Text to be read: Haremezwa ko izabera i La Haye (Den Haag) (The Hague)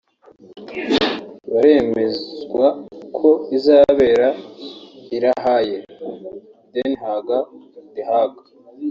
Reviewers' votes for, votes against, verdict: 1, 2, rejected